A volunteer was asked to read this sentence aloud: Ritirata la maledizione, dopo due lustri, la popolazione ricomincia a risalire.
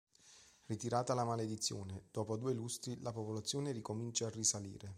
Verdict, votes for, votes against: accepted, 2, 0